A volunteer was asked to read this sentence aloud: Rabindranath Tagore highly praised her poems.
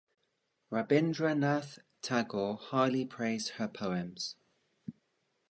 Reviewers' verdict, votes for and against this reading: rejected, 1, 2